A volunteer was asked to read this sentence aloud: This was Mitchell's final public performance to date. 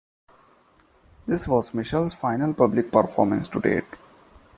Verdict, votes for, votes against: accepted, 2, 1